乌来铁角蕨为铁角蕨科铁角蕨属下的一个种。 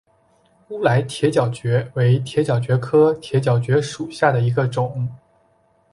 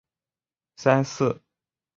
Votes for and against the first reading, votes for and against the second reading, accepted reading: 3, 0, 0, 3, first